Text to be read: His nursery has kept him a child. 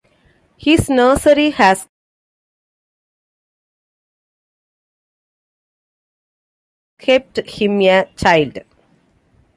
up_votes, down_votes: 0, 2